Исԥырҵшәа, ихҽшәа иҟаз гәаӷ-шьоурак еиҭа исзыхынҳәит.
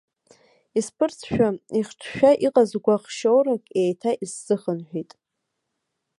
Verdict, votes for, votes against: accepted, 2, 0